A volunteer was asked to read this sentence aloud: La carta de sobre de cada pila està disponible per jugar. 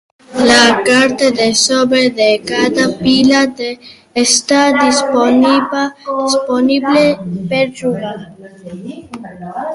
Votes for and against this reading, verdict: 0, 2, rejected